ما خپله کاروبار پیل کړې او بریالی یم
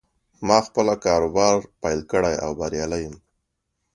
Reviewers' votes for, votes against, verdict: 2, 0, accepted